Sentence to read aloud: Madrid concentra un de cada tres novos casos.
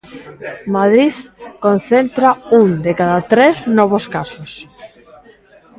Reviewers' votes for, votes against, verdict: 2, 1, accepted